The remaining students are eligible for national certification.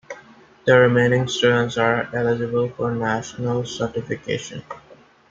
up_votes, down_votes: 2, 0